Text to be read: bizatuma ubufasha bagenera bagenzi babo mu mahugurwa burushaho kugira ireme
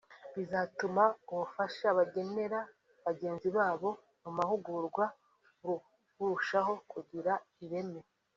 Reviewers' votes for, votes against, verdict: 1, 2, rejected